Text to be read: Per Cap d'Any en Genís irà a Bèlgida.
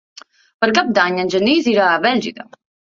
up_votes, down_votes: 2, 1